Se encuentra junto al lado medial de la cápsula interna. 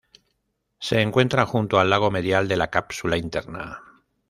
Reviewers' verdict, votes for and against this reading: accepted, 2, 0